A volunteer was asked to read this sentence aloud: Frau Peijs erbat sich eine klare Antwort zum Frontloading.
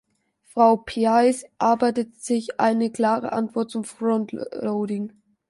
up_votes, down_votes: 0, 2